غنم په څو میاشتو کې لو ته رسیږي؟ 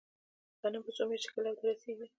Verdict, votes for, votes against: accepted, 2, 1